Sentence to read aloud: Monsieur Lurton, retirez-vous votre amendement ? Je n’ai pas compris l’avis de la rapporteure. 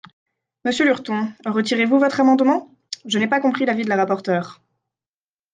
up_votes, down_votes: 2, 0